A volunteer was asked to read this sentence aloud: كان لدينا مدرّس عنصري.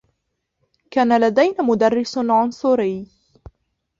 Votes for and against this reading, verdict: 2, 0, accepted